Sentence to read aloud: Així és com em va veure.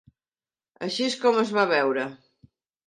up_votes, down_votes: 0, 2